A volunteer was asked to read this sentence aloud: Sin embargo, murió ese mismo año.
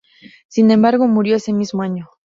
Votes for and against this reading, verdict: 2, 0, accepted